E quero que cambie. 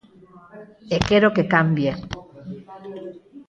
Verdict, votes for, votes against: accepted, 4, 0